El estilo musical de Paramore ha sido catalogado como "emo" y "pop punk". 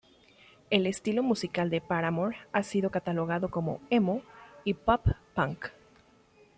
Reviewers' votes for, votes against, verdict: 2, 0, accepted